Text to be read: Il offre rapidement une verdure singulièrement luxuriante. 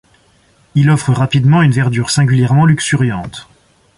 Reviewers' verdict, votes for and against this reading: accepted, 2, 0